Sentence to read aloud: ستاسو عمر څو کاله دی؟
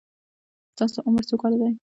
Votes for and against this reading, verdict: 0, 2, rejected